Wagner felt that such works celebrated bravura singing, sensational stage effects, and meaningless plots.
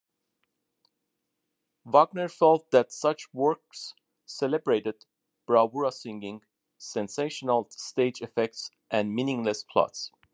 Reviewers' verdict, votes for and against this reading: accepted, 3, 0